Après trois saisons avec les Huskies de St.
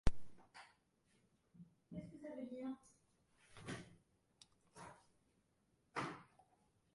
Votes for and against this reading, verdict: 1, 2, rejected